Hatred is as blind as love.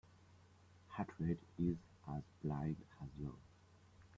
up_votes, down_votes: 0, 2